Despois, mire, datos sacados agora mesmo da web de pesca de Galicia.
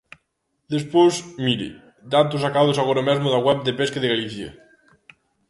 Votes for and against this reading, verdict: 2, 0, accepted